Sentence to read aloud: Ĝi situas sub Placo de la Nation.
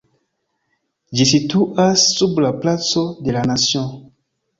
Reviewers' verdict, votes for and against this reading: rejected, 1, 2